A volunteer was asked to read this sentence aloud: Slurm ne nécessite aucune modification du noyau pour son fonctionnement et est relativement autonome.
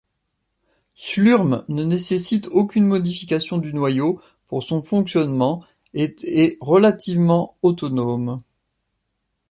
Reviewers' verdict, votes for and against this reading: rejected, 0, 2